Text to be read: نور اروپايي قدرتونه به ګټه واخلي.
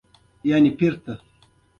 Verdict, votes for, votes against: rejected, 0, 2